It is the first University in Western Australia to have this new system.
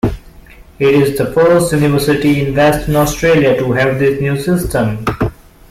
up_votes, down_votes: 2, 1